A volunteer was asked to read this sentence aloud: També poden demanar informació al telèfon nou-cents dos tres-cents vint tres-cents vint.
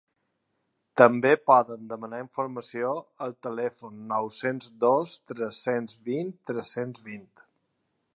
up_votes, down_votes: 2, 0